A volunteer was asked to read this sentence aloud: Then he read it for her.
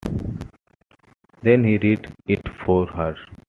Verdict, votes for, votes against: rejected, 1, 2